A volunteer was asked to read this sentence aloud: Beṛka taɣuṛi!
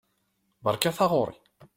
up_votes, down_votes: 2, 0